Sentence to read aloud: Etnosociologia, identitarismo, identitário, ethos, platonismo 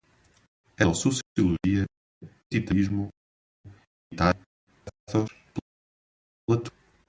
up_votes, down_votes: 0, 2